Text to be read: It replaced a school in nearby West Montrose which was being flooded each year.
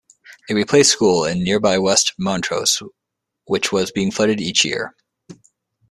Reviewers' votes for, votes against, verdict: 2, 3, rejected